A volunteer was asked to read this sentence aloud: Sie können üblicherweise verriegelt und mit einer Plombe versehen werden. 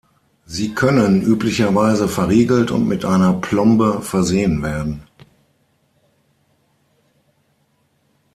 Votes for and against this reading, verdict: 6, 0, accepted